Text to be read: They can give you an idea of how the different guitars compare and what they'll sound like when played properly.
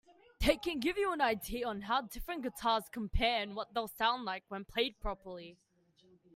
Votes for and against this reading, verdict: 1, 2, rejected